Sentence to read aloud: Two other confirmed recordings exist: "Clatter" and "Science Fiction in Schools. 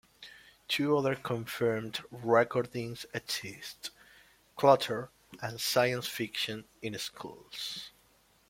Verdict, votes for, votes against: rejected, 0, 2